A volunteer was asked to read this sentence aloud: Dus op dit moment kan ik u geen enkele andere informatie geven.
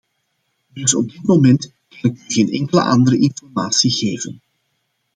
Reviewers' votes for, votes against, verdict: 2, 0, accepted